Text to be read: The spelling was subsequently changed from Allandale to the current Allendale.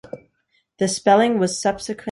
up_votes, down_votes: 0, 2